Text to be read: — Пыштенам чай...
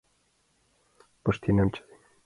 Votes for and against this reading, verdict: 2, 0, accepted